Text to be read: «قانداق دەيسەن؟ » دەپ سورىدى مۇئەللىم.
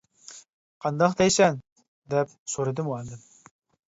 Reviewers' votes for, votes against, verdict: 2, 0, accepted